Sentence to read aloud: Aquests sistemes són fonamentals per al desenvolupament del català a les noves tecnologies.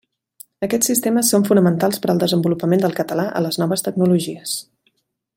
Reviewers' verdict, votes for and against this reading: accepted, 3, 0